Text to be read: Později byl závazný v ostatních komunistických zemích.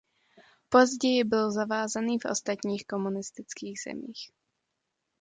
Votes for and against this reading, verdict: 0, 2, rejected